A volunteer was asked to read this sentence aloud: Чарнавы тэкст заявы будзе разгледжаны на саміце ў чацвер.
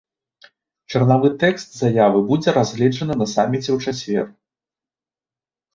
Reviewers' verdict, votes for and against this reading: accepted, 2, 0